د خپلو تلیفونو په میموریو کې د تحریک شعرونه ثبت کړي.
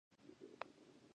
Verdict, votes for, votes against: rejected, 0, 2